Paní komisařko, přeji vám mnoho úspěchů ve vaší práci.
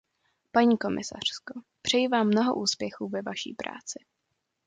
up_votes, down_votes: 1, 2